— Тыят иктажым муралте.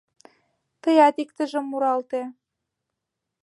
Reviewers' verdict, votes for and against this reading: rejected, 1, 2